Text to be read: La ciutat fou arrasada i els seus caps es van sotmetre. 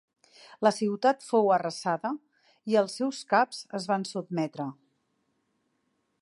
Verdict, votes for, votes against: accepted, 5, 1